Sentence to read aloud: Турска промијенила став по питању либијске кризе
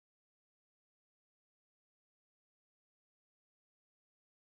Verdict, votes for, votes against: rejected, 0, 2